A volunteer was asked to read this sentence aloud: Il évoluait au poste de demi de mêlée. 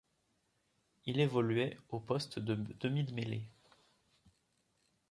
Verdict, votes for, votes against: rejected, 1, 2